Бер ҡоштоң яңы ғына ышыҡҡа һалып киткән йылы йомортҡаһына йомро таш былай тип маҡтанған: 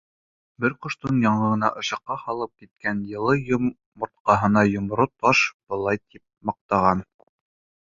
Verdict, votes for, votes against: accepted, 2, 1